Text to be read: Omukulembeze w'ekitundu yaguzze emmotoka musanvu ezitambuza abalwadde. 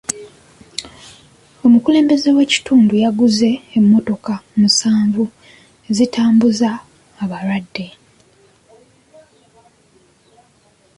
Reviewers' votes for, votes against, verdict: 2, 1, accepted